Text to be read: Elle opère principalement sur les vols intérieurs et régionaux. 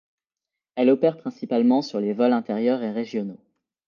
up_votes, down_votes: 2, 0